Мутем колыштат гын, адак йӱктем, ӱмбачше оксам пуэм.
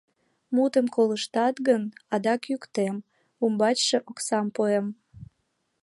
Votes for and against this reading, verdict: 2, 1, accepted